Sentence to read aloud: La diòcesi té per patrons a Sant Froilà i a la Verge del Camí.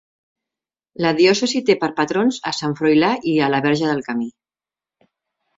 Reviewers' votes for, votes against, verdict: 2, 0, accepted